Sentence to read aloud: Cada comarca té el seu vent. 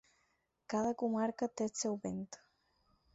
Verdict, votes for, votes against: accepted, 6, 0